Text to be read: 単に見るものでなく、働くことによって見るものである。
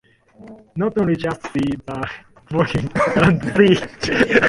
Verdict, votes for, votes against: rejected, 0, 2